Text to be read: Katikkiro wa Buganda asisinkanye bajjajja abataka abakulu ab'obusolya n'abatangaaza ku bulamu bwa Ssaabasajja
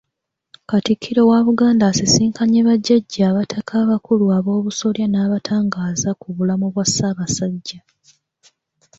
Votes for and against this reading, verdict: 3, 1, accepted